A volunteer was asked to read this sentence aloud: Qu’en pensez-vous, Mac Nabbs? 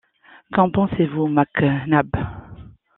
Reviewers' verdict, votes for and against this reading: accepted, 2, 0